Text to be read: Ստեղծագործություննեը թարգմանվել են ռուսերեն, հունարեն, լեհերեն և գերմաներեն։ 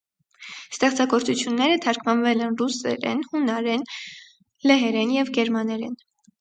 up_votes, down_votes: 0, 2